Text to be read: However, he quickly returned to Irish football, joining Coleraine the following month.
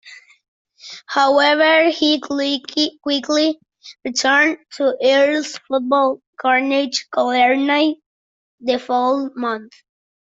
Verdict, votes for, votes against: rejected, 0, 2